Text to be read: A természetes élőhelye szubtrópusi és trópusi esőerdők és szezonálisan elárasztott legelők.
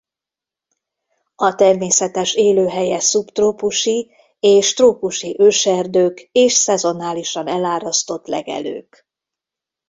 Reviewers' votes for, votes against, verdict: 0, 2, rejected